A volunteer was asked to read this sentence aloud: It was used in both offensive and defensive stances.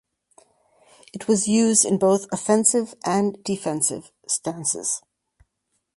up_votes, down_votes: 2, 0